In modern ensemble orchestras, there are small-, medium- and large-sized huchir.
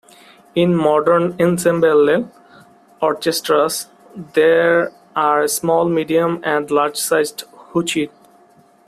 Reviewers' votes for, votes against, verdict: 0, 2, rejected